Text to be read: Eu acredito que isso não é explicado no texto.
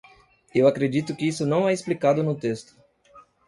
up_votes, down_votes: 2, 0